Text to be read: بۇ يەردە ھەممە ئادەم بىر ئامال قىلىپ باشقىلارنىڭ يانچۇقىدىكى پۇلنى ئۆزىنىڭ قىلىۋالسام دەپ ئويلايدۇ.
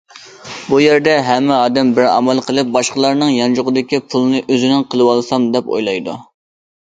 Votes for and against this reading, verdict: 2, 0, accepted